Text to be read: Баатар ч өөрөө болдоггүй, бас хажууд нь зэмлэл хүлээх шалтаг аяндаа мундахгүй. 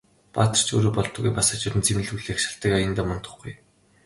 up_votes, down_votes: 2, 1